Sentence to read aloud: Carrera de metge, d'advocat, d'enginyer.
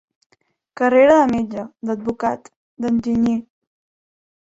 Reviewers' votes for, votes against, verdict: 3, 0, accepted